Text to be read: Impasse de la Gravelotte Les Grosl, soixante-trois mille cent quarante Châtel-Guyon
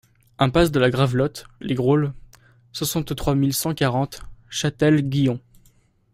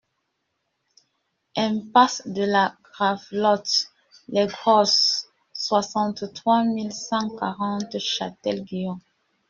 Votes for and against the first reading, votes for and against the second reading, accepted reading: 2, 0, 1, 2, first